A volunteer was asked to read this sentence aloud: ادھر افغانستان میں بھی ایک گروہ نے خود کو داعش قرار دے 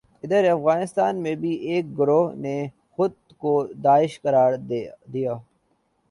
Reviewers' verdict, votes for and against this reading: rejected, 0, 2